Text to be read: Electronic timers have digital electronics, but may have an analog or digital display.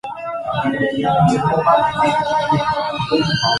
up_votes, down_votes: 1, 3